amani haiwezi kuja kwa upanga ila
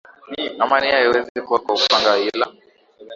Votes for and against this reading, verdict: 5, 2, accepted